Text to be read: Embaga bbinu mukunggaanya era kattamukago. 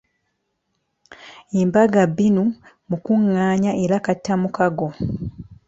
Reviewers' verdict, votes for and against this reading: accepted, 2, 0